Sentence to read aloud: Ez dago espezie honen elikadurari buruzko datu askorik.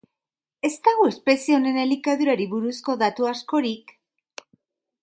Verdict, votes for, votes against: rejected, 0, 2